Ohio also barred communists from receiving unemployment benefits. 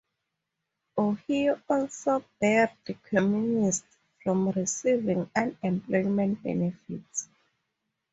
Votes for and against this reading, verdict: 0, 4, rejected